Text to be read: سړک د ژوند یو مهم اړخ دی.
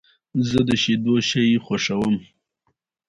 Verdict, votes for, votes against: accepted, 2, 0